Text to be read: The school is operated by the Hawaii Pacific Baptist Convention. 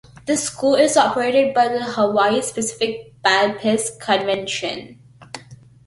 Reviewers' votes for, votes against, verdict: 0, 2, rejected